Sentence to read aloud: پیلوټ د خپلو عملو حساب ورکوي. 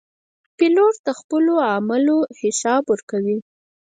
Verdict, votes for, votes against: rejected, 2, 4